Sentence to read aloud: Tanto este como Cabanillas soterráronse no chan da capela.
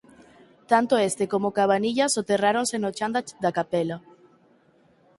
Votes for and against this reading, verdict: 0, 4, rejected